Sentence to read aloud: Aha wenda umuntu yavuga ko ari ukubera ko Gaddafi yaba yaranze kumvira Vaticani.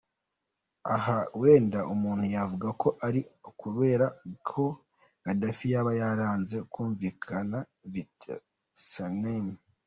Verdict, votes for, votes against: rejected, 0, 2